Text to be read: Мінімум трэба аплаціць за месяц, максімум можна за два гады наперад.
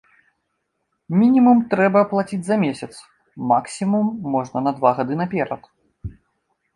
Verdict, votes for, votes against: rejected, 1, 2